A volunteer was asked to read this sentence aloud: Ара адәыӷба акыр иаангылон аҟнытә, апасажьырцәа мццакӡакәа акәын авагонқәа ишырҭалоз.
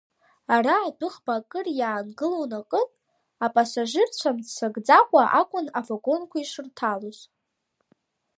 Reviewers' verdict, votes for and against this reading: accepted, 3, 0